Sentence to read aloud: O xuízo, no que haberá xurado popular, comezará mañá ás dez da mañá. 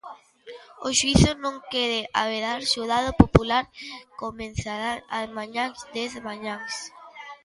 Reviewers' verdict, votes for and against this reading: rejected, 0, 2